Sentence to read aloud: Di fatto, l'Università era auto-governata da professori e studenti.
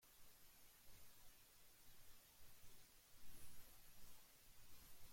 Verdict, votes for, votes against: rejected, 0, 2